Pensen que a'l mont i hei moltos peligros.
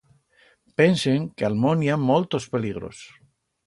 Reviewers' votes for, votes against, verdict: 1, 2, rejected